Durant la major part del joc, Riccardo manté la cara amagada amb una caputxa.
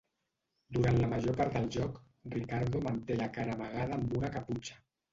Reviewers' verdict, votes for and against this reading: rejected, 1, 2